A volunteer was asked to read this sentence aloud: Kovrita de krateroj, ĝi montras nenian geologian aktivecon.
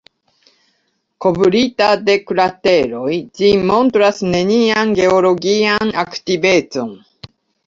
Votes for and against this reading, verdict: 2, 1, accepted